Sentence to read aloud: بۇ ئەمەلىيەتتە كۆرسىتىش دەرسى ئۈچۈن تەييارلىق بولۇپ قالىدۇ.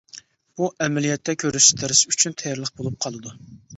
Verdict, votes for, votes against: rejected, 1, 2